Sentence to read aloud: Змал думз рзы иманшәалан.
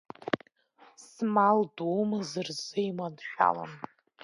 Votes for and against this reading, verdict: 2, 0, accepted